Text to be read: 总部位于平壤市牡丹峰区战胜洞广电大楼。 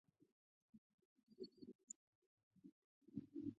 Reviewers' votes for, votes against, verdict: 0, 2, rejected